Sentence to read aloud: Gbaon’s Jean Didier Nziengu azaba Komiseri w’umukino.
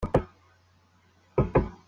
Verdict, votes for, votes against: rejected, 0, 2